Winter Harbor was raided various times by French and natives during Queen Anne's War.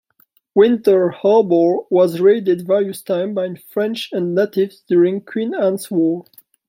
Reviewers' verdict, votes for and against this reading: rejected, 1, 2